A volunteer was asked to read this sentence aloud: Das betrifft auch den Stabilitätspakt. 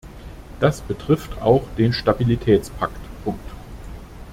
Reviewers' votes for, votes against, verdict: 0, 2, rejected